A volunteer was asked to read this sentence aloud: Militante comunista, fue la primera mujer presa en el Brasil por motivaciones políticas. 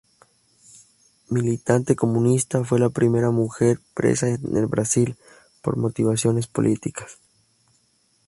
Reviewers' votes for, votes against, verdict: 2, 2, rejected